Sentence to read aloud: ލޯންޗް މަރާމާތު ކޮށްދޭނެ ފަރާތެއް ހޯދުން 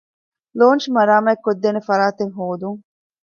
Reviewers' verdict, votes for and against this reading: rejected, 1, 2